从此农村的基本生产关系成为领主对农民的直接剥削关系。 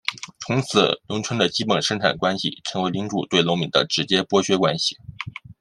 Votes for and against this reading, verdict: 2, 0, accepted